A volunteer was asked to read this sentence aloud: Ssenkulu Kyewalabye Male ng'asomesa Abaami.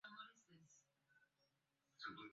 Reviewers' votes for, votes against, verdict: 0, 2, rejected